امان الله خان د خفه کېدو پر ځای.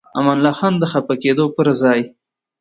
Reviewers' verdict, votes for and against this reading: rejected, 1, 2